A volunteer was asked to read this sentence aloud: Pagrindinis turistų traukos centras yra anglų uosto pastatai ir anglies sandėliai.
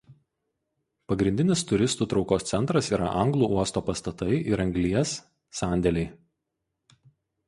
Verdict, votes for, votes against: accepted, 4, 0